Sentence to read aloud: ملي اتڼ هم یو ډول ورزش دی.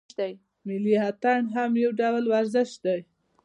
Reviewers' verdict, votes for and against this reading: accepted, 2, 0